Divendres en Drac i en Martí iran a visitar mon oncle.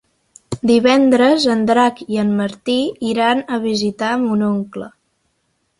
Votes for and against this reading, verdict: 3, 0, accepted